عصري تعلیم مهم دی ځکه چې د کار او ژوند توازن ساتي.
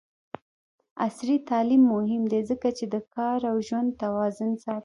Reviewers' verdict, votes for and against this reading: rejected, 1, 2